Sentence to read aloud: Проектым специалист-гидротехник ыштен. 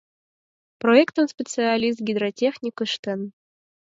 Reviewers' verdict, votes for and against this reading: accepted, 4, 0